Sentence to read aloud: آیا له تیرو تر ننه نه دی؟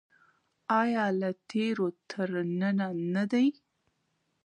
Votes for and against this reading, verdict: 1, 2, rejected